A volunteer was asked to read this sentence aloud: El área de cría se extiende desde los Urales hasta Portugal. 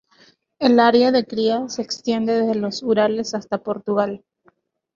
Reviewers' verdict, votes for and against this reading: rejected, 2, 2